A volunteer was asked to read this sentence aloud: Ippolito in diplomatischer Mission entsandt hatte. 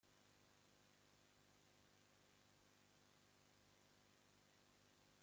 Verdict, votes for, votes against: rejected, 0, 2